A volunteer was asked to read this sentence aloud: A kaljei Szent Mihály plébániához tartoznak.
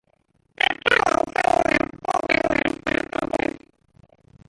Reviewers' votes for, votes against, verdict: 0, 2, rejected